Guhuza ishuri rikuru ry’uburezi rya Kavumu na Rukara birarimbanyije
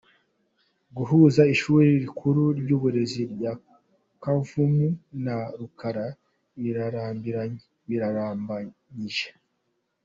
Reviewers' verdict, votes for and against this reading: rejected, 0, 2